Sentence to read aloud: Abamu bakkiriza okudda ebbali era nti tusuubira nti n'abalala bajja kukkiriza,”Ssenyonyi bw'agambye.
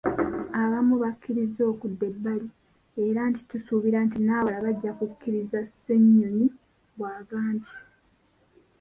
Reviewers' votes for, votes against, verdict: 0, 2, rejected